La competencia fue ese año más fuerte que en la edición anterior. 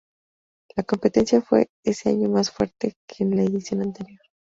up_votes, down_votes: 0, 2